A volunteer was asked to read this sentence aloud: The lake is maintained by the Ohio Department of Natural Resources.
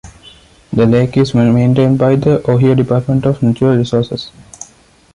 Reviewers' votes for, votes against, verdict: 0, 2, rejected